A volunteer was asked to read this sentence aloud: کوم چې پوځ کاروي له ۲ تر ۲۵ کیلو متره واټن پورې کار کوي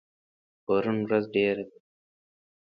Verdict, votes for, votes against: rejected, 0, 2